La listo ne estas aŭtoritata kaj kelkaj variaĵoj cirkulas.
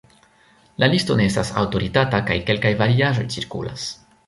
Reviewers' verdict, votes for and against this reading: accepted, 2, 1